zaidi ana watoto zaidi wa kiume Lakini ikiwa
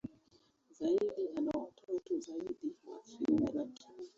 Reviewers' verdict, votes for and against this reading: rejected, 0, 2